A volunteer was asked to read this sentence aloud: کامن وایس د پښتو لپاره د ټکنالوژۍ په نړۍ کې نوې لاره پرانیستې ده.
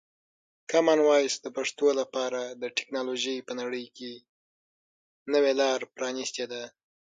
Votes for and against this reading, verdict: 0, 3, rejected